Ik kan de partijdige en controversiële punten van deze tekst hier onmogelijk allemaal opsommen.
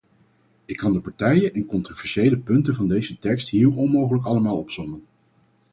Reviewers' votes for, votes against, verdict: 0, 4, rejected